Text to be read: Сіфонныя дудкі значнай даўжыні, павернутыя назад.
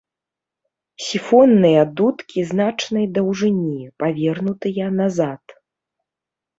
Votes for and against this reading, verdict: 2, 0, accepted